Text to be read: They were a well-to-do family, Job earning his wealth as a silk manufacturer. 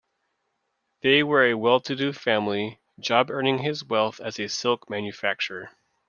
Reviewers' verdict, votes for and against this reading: accepted, 2, 0